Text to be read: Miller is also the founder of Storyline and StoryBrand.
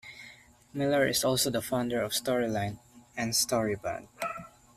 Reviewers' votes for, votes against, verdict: 0, 2, rejected